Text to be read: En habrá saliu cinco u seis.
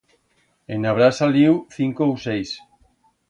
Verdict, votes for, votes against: accepted, 2, 0